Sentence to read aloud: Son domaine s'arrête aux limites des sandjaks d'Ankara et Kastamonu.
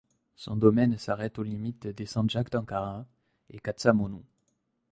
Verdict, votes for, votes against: rejected, 1, 2